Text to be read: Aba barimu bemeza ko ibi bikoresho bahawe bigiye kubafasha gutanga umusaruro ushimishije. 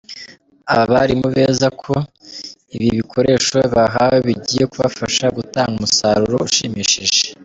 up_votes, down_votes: 1, 2